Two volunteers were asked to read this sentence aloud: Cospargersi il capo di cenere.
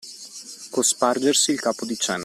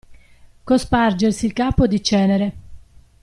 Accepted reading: second